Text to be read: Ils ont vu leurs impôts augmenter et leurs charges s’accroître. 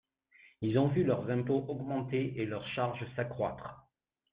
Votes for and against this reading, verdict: 2, 0, accepted